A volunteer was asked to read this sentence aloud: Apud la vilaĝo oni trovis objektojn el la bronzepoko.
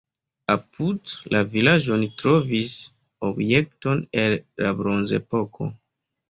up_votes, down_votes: 1, 2